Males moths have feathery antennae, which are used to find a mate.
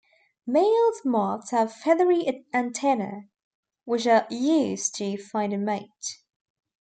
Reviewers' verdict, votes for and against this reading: rejected, 0, 2